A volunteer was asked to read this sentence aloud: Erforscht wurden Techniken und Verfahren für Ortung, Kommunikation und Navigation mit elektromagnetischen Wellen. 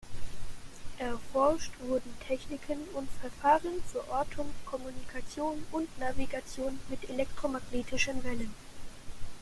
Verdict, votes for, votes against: accepted, 2, 0